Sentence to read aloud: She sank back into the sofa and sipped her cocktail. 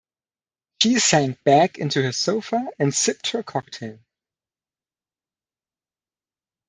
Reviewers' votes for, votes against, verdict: 0, 2, rejected